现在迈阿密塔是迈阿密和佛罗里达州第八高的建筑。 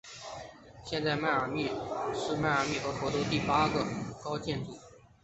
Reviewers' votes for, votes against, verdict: 3, 1, accepted